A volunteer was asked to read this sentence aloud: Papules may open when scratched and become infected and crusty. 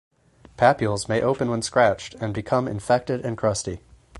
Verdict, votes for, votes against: accepted, 4, 0